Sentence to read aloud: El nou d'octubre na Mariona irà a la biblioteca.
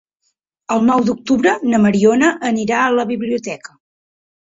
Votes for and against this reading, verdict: 0, 6, rejected